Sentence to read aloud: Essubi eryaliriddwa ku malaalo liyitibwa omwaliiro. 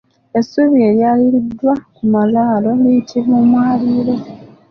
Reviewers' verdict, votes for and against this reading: accepted, 2, 1